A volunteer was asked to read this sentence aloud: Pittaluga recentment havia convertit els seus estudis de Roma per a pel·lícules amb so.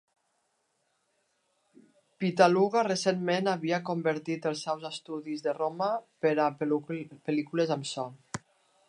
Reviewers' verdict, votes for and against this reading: rejected, 0, 2